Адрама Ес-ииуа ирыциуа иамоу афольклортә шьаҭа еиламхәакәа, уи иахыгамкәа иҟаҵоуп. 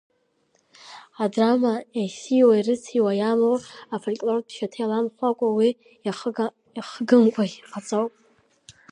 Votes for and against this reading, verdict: 2, 0, accepted